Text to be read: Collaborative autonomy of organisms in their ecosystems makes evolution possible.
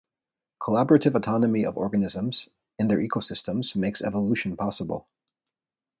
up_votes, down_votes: 2, 0